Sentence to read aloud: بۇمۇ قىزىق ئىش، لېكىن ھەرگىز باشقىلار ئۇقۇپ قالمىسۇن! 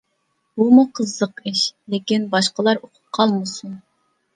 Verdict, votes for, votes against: rejected, 0, 2